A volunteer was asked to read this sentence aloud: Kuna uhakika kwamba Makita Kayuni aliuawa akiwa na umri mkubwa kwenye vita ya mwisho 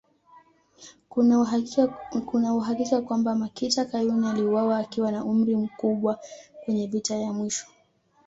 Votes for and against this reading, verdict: 0, 2, rejected